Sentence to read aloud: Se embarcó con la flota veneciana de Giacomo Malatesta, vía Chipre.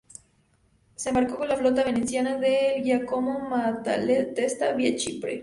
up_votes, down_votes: 0, 4